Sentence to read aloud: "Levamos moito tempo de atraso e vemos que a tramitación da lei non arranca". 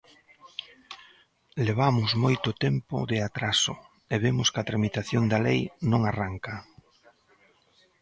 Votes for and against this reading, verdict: 2, 0, accepted